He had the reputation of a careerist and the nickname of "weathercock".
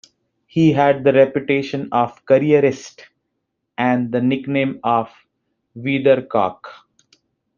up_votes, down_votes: 0, 2